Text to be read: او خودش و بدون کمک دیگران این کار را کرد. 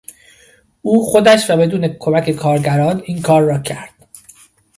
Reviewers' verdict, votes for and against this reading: rejected, 1, 2